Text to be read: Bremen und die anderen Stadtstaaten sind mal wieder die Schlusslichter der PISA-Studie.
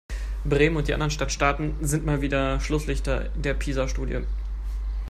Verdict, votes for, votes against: rejected, 3, 4